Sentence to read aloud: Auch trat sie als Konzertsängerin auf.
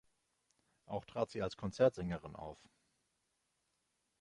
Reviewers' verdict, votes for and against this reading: accepted, 2, 0